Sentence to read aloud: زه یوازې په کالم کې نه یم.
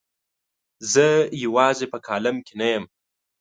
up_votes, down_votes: 2, 0